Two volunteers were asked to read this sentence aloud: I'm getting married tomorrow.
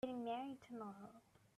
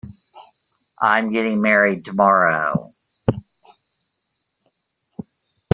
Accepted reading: second